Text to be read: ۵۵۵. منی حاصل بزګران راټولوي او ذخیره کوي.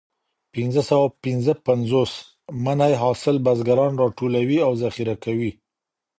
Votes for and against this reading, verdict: 0, 2, rejected